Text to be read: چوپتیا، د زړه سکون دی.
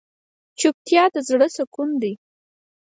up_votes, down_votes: 4, 0